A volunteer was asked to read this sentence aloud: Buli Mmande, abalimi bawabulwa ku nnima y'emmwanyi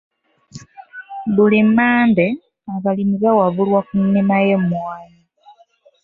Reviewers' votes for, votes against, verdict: 1, 2, rejected